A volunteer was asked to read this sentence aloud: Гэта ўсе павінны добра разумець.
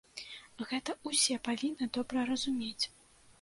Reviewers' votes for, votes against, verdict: 1, 2, rejected